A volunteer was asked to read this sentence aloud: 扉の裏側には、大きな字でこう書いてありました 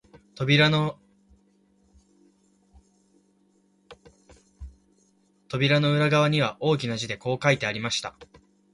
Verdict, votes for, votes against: rejected, 1, 2